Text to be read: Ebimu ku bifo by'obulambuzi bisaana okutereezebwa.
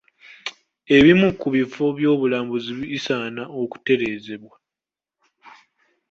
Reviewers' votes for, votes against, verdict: 2, 1, accepted